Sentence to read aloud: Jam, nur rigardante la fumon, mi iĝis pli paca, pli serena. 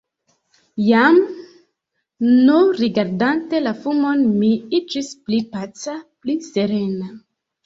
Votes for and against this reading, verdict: 2, 0, accepted